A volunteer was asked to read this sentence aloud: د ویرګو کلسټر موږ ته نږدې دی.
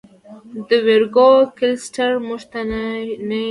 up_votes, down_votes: 1, 2